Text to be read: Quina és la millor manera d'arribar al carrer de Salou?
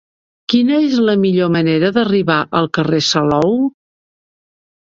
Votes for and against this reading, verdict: 0, 2, rejected